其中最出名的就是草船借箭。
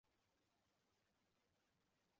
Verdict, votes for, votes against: rejected, 0, 3